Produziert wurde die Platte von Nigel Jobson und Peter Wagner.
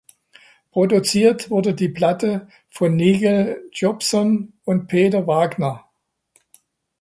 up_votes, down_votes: 2, 0